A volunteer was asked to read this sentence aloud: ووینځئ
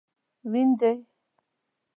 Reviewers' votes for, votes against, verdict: 1, 2, rejected